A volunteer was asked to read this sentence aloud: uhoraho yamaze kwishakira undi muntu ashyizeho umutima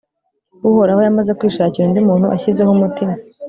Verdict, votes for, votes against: accepted, 2, 0